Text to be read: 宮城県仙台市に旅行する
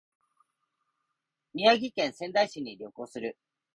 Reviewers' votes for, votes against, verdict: 2, 0, accepted